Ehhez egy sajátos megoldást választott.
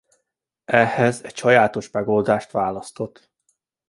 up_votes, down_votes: 0, 2